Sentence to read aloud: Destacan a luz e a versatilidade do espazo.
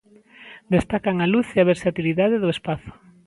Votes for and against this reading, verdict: 2, 0, accepted